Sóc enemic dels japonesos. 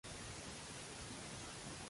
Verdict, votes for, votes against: rejected, 0, 2